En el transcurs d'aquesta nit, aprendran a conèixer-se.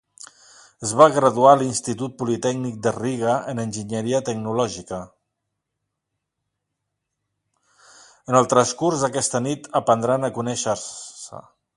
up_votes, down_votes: 0, 2